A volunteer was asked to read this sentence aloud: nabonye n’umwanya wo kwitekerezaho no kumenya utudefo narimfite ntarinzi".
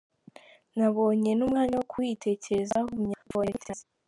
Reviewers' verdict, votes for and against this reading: rejected, 0, 2